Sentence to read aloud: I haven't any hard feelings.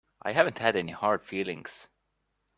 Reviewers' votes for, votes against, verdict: 0, 2, rejected